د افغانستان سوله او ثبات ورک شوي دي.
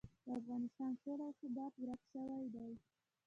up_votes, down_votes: 0, 2